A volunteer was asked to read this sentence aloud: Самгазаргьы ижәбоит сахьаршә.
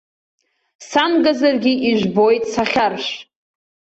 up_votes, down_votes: 2, 0